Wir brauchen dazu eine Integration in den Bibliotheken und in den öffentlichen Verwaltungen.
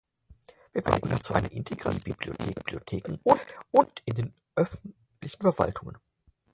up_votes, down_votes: 0, 4